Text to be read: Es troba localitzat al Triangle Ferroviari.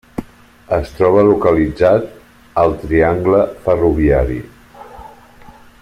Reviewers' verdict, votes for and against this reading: accepted, 3, 0